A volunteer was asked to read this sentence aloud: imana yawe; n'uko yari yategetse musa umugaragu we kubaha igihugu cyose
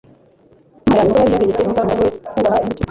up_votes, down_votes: 1, 2